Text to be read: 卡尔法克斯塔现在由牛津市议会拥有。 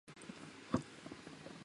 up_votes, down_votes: 1, 2